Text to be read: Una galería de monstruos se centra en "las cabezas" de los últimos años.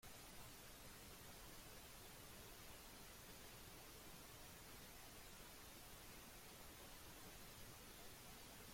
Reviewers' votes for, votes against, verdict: 0, 2, rejected